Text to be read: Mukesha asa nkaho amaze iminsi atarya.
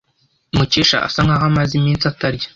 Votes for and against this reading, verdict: 2, 0, accepted